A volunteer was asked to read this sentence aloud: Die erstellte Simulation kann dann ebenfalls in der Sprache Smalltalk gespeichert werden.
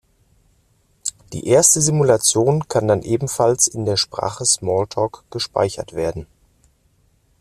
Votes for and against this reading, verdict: 1, 2, rejected